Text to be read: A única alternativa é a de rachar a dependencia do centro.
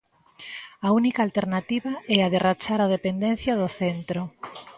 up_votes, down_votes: 2, 0